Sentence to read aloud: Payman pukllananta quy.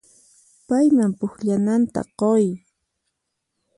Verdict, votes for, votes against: accepted, 4, 0